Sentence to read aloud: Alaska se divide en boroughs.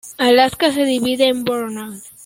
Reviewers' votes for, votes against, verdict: 2, 1, accepted